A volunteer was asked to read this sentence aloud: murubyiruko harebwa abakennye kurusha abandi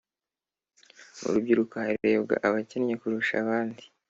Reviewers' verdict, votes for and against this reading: accepted, 2, 0